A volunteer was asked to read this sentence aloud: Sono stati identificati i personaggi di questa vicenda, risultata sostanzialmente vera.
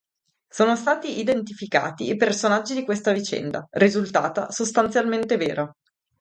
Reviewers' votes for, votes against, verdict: 2, 2, rejected